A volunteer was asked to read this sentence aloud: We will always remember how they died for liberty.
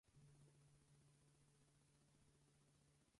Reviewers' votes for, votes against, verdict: 0, 4, rejected